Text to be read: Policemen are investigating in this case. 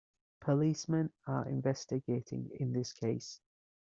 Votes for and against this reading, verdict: 2, 0, accepted